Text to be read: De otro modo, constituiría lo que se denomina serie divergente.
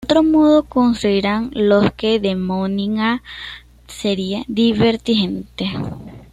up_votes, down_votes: 0, 2